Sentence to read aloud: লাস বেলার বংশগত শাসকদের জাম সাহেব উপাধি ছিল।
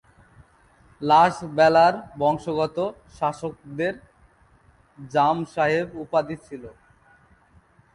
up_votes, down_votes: 0, 2